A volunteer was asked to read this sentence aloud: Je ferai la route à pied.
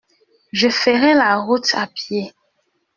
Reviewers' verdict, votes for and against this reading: rejected, 1, 2